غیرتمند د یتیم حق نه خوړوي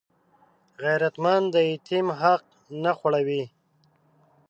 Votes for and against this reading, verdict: 0, 2, rejected